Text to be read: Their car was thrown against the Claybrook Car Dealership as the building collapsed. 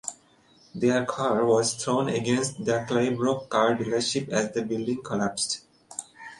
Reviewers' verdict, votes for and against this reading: accepted, 3, 0